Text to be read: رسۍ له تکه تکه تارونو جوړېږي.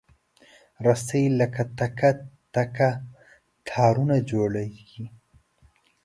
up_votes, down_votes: 0, 2